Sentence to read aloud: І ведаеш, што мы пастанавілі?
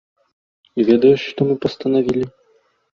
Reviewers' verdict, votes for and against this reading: accepted, 2, 0